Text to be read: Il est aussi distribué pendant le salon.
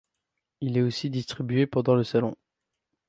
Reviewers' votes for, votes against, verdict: 2, 0, accepted